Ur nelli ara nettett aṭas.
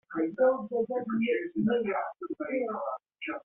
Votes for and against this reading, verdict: 1, 2, rejected